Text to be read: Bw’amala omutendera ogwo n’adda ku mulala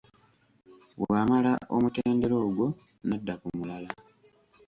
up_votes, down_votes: 2, 1